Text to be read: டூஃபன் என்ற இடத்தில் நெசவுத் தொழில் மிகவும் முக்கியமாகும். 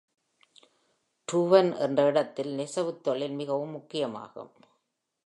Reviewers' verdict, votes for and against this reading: accepted, 2, 0